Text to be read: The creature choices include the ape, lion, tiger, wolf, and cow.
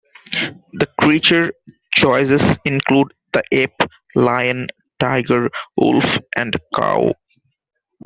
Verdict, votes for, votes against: accepted, 2, 0